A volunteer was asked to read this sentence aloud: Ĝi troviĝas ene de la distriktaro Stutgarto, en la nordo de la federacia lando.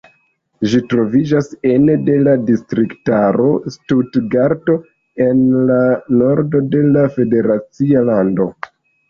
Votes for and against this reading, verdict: 2, 1, accepted